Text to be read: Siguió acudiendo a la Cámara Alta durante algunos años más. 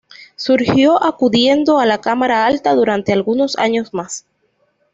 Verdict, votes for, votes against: rejected, 1, 2